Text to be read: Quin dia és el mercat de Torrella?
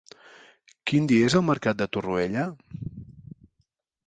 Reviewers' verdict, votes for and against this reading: rejected, 1, 3